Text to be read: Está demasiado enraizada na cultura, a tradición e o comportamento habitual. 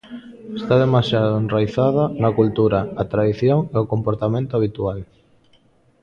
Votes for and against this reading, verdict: 0, 2, rejected